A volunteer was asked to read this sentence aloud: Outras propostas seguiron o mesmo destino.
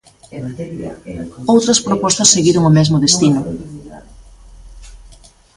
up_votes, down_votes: 0, 2